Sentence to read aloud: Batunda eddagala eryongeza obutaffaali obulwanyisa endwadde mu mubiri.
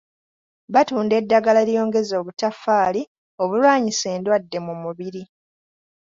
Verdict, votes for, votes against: accepted, 2, 0